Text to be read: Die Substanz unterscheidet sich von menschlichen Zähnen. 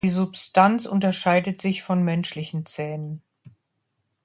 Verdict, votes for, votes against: accepted, 2, 0